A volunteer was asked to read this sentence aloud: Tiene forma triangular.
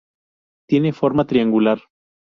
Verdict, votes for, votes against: rejected, 0, 2